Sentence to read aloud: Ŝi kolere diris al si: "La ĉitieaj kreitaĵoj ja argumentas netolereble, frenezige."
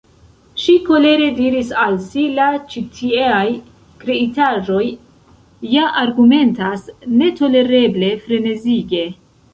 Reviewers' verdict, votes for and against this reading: rejected, 0, 2